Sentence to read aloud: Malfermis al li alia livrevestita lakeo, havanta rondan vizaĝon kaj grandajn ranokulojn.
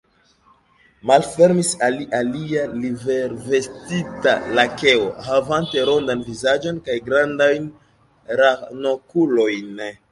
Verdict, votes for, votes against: rejected, 1, 3